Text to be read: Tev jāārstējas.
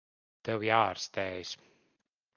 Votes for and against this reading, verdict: 2, 0, accepted